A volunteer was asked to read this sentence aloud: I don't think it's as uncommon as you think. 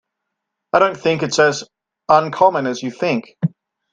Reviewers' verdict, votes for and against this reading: accepted, 2, 0